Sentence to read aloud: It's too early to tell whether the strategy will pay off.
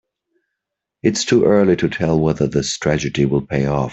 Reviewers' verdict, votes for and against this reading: accepted, 2, 0